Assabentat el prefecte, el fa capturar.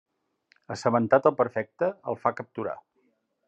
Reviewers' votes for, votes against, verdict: 1, 2, rejected